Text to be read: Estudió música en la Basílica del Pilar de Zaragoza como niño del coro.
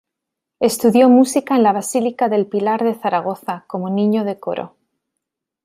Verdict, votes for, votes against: rejected, 1, 2